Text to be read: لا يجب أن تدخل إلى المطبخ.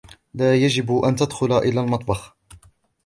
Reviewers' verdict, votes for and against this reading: accepted, 2, 0